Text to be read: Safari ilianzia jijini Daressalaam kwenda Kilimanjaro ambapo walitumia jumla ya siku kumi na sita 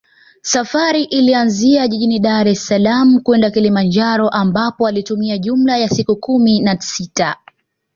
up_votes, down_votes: 2, 0